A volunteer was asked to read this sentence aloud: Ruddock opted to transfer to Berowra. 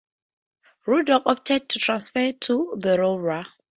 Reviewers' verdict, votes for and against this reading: rejected, 2, 2